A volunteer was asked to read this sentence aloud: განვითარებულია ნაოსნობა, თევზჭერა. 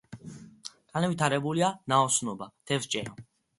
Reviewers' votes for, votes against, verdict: 2, 1, accepted